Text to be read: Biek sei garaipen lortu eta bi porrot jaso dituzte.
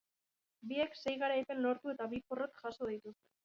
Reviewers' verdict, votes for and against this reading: rejected, 1, 2